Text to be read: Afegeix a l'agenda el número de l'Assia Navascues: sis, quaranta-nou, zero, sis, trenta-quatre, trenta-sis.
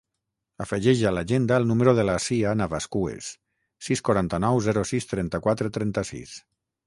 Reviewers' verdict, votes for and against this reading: rejected, 3, 3